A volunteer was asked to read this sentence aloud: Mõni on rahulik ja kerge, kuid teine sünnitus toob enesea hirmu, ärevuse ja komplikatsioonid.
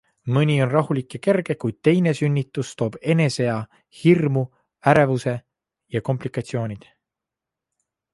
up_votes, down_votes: 2, 0